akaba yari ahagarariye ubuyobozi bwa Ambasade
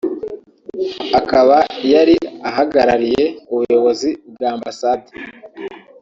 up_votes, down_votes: 1, 2